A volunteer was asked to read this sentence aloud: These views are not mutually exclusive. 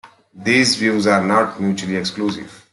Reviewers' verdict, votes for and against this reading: accepted, 2, 0